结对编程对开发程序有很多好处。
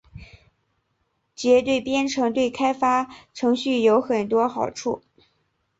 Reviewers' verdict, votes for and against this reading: accepted, 2, 0